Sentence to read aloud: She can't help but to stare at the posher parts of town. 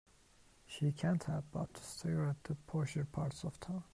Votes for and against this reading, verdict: 2, 0, accepted